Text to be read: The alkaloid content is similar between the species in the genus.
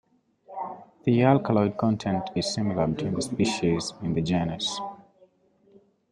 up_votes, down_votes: 2, 0